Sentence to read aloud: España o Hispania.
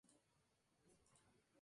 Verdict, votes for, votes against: rejected, 0, 2